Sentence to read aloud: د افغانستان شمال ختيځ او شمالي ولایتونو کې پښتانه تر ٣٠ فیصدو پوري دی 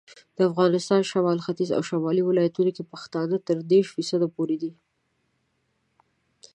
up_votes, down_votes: 0, 2